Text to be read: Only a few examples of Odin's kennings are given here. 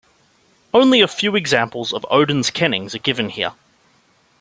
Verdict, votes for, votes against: accepted, 2, 0